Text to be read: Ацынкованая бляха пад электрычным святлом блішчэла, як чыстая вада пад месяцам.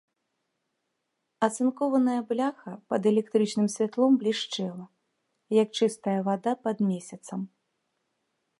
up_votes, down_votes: 2, 0